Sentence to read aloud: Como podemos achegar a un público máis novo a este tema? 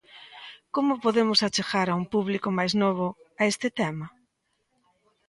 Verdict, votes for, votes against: accepted, 2, 0